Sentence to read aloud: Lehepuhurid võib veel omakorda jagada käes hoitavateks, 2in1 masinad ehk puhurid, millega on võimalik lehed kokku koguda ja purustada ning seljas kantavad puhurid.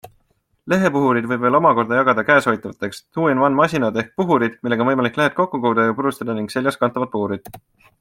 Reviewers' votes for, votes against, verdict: 0, 2, rejected